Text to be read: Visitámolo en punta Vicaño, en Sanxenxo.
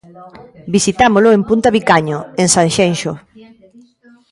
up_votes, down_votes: 2, 0